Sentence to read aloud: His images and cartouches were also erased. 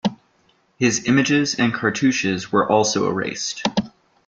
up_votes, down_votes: 2, 0